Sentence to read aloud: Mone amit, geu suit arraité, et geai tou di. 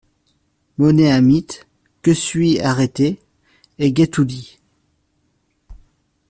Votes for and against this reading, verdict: 1, 2, rejected